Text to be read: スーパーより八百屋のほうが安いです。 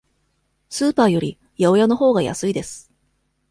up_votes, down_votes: 2, 0